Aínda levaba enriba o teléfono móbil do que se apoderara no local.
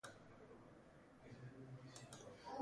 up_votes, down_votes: 0, 2